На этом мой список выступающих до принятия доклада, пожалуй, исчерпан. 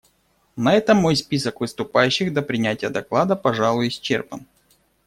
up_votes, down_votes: 2, 0